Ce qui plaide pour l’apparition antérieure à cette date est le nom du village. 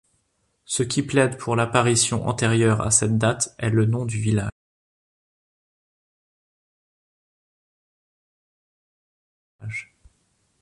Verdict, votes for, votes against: rejected, 1, 2